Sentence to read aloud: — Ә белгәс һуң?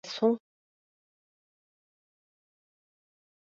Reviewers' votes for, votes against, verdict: 0, 2, rejected